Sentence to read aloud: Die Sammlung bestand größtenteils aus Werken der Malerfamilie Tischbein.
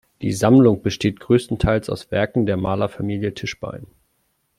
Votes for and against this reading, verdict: 2, 0, accepted